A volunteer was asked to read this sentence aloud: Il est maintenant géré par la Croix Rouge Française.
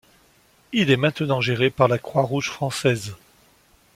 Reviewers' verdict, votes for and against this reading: accepted, 2, 0